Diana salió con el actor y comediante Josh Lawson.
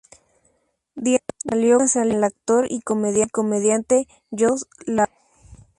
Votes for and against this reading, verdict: 0, 2, rejected